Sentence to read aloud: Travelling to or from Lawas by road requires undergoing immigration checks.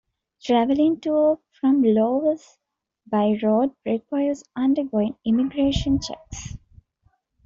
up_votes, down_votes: 2, 0